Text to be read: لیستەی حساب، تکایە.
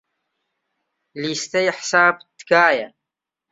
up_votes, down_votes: 2, 0